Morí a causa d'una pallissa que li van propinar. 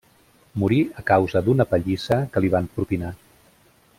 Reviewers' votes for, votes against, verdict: 1, 2, rejected